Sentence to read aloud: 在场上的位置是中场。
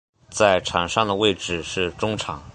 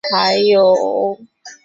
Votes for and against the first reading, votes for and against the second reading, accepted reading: 2, 0, 0, 2, first